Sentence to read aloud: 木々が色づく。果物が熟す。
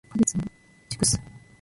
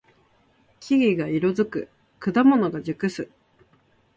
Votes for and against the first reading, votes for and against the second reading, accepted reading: 0, 2, 2, 0, second